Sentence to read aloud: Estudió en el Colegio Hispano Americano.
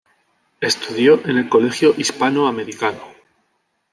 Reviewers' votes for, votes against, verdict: 2, 0, accepted